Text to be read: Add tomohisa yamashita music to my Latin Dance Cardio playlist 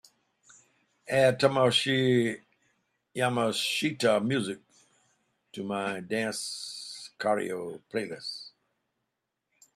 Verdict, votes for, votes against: rejected, 0, 3